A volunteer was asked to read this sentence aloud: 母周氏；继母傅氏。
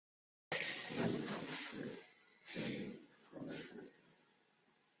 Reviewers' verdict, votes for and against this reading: rejected, 0, 2